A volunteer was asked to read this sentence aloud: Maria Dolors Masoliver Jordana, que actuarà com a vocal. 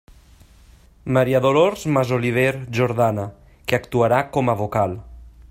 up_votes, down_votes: 3, 0